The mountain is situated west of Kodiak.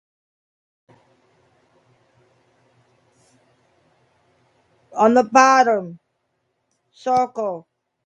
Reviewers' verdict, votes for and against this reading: rejected, 0, 2